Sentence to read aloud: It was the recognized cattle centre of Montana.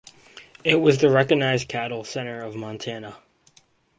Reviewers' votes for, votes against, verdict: 4, 0, accepted